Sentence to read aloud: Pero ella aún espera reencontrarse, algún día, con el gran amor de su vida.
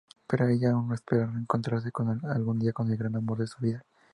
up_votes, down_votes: 0, 2